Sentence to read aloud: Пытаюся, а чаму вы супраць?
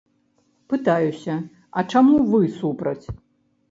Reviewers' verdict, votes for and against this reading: accepted, 3, 0